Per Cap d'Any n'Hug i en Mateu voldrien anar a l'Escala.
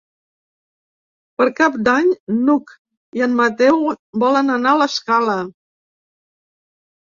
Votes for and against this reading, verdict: 0, 2, rejected